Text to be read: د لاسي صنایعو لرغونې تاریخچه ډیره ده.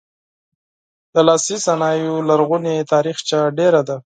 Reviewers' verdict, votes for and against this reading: accepted, 4, 0